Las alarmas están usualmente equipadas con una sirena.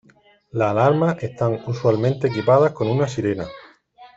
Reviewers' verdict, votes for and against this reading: rejected, 0, 2